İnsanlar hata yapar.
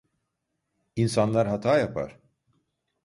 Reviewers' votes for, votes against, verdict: 2, 0, accepted